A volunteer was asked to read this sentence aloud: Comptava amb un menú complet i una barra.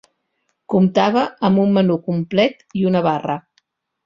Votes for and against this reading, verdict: 3, 0, accepted